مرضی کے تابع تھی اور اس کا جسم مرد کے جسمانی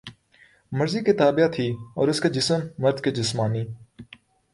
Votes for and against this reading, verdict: 2, 0, accepted